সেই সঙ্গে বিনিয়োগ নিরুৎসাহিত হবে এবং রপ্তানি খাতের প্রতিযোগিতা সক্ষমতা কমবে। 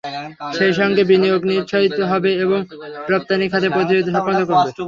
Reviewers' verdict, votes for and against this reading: rejected, 0, 3